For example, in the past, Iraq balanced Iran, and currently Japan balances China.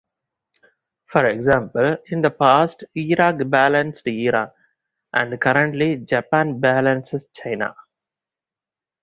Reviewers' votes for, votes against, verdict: 2, 0, accepted